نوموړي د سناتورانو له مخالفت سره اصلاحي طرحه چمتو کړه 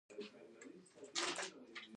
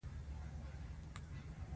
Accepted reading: second